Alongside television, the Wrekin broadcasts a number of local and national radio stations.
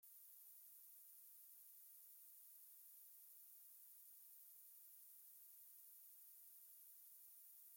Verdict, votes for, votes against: rejected, 0, 2